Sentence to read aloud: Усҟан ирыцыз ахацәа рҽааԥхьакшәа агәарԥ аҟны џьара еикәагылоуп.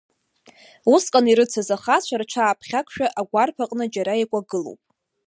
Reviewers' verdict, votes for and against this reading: accepted, 2, 1